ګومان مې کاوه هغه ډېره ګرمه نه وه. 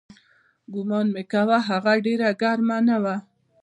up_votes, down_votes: 0, 2